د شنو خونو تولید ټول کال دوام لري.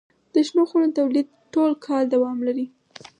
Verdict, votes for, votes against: accepted, 4, 0